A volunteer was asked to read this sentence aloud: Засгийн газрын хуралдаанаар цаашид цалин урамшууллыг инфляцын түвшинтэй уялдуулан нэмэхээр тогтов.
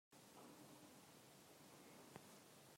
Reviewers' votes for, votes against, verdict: 0, 2, rejected